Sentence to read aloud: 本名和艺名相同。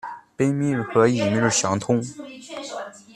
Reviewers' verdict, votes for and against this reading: rejected, 1, 2